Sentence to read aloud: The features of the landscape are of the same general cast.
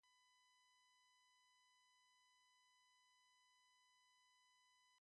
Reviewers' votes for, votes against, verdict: 0, 2, rejected